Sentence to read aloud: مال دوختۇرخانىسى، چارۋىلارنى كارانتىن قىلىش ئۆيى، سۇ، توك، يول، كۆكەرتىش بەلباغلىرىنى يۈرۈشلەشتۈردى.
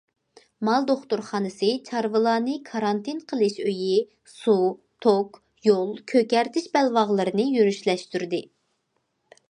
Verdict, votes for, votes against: accepted, 2, 0